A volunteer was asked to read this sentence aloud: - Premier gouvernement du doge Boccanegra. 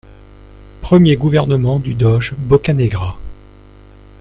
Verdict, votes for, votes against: accepted, 2, 0